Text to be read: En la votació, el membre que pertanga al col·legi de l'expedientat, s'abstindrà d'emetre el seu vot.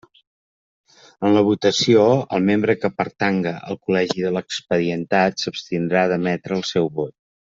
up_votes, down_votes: 3, 0